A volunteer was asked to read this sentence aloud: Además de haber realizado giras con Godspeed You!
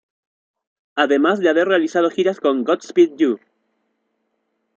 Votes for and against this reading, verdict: 1, 2, rejected